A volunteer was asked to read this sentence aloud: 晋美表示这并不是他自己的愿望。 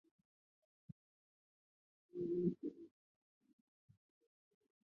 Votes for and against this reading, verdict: 0, 5, rejected